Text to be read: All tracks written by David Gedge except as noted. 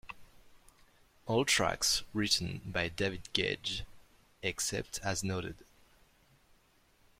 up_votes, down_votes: 2, 0